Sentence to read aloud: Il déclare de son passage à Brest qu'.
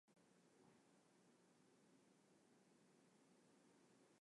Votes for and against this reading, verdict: 0, 2, rejected